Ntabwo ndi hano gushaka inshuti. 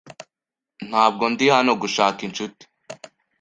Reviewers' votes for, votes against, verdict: 2, 0, accepted